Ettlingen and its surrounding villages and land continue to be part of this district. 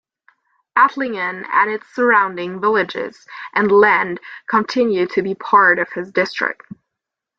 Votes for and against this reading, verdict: 0, 2, rejected